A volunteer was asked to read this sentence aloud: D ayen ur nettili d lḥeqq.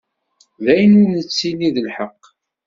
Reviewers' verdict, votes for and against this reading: accepted, 2, 0